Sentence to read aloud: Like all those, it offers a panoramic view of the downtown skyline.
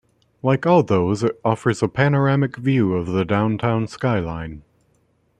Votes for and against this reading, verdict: 2, 0, accepted